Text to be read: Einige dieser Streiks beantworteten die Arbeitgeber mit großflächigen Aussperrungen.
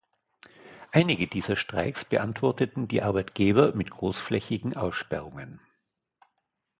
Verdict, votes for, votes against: accepted, 2, 0